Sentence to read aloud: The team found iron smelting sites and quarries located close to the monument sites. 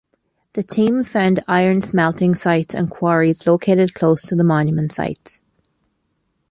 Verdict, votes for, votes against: accepted, 2, 0